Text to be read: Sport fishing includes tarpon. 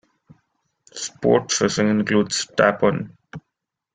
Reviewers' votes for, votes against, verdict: 2, 0, accepted